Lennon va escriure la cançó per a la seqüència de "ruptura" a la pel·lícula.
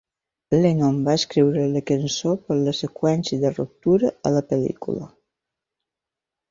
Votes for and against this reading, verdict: 1, 2, rejected